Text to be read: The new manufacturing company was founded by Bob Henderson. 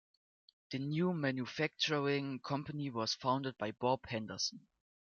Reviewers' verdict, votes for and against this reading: accepted, 2, 1